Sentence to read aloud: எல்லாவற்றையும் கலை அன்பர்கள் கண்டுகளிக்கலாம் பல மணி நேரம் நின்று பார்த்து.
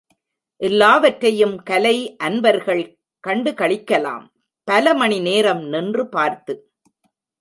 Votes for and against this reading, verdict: 2, 0, accepted